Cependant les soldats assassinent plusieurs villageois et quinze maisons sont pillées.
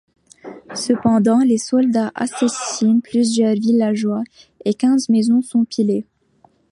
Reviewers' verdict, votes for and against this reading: rejected, 1, 2